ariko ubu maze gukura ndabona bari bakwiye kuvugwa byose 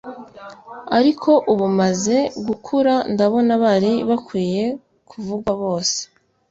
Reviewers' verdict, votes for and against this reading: rejected, 1, 2